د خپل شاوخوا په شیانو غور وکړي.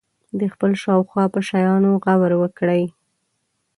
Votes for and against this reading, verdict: 2, 0, accepted